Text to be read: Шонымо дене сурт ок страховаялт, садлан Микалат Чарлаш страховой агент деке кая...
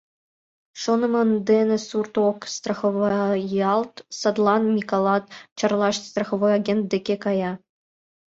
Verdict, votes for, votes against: rejected, 0, 2